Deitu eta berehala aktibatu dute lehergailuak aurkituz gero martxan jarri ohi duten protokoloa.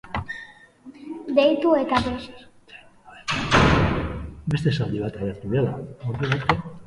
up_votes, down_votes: 0, 2